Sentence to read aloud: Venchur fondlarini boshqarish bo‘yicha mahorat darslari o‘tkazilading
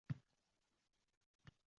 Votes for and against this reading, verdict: 0, 2, rejected